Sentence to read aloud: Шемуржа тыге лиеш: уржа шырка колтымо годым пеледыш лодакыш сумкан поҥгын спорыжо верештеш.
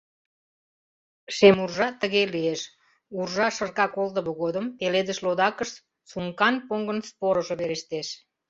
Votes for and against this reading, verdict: 2, 0, accepted